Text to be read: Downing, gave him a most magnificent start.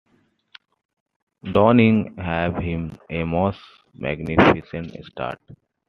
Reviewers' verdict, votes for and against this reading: rejected, 1, 2